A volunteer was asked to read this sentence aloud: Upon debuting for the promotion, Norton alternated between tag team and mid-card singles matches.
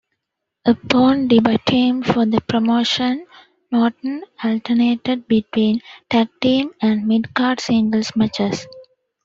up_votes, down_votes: 2, 1